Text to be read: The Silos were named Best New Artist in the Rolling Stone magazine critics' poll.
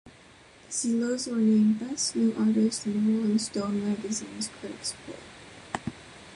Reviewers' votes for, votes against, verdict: 0, 3, rejected